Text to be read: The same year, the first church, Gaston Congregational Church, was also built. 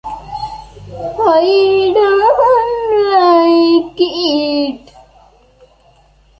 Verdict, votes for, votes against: rejected, 0, 2